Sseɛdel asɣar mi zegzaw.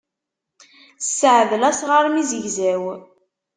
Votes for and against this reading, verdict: 2, 0, accepted